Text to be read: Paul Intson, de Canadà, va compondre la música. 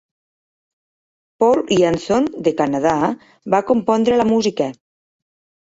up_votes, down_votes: 1, 2